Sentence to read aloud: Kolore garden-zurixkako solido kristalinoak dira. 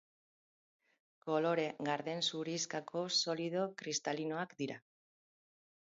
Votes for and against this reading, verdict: 6, 0, accepted